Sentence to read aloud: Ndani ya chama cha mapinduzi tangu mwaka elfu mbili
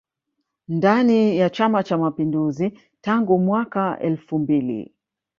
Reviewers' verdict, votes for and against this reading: accepted, 2, 0